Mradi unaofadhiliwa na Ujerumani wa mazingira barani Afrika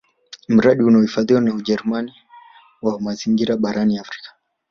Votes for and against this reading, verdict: 2, 0, accepted